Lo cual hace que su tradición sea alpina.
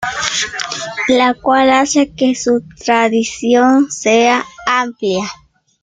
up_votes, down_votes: 0, 2